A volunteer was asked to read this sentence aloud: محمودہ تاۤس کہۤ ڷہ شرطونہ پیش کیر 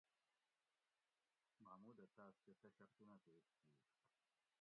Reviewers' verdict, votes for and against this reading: rejected, 0, 2